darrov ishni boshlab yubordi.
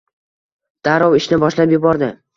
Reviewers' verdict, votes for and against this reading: rejected, 1, 2